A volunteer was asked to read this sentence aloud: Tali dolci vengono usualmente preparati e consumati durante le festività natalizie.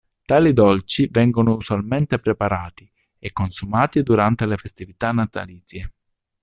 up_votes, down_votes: 2, 0